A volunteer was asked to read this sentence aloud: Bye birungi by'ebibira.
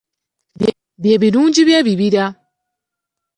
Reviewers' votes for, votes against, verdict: 1, 2, rejected